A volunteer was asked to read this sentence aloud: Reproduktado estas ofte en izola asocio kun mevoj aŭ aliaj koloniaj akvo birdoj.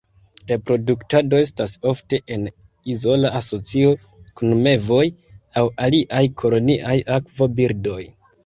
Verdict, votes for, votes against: accepted, 2, 1